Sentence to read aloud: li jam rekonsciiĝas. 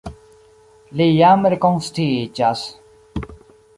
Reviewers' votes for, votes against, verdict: 2, 0, accepted